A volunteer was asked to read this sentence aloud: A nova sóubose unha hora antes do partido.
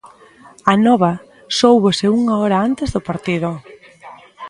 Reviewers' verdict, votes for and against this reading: rejected, 1, 2